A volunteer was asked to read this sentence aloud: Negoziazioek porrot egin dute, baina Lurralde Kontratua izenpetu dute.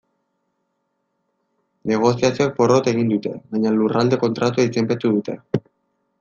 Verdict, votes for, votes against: accepted, 2, 1